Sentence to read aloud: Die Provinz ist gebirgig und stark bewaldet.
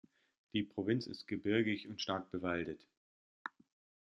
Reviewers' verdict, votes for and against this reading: accepted, 2, 1